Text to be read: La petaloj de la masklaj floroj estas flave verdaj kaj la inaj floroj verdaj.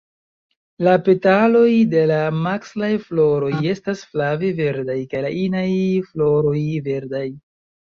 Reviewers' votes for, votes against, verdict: 2, 1, accepted